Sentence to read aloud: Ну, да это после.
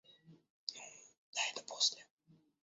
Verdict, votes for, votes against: accepted, 2, 1